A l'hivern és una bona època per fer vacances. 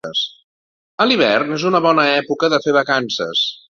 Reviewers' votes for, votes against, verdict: 0, 2, rejected